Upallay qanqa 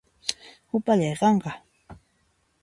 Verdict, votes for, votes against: accepted, 2, 0